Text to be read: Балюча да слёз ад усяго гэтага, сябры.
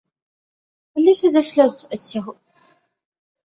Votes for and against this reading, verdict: 1, 2, rejected